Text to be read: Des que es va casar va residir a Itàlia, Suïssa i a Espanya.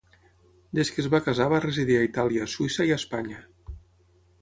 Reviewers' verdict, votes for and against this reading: accepted, 6, 0